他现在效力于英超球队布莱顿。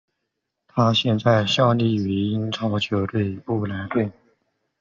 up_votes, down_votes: 0, 2